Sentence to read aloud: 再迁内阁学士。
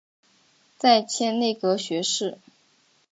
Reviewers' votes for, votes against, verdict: 3, 0, accepted